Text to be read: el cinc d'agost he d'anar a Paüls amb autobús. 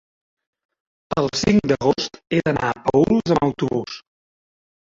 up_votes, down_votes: 0, 2